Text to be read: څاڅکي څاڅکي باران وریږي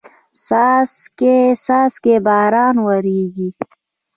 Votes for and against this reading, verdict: 2, 0, accepted